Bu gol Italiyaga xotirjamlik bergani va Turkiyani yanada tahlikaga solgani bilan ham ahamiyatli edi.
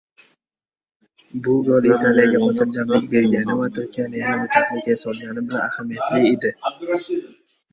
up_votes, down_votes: 0, 3